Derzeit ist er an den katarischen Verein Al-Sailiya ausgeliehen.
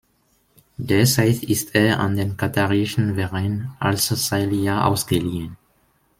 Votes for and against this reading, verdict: 1, 2, rejected